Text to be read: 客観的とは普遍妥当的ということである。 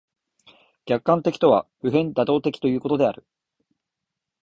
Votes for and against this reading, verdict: 2, 1, accepted